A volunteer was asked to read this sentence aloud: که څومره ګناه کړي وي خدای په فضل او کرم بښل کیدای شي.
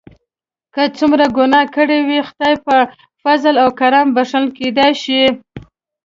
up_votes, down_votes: 3, 0